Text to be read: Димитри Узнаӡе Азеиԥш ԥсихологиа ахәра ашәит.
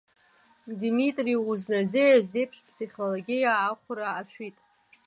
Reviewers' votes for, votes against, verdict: 3, 1, accepted